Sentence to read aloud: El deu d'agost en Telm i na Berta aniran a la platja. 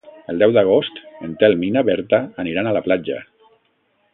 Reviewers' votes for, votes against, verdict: 2, 0, accepted